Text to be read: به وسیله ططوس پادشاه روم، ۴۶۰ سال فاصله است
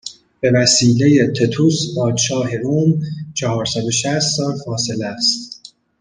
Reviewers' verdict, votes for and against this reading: rejected, 0, 2